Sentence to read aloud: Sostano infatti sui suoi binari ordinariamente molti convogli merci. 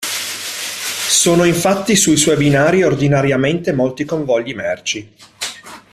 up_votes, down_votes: 0, 2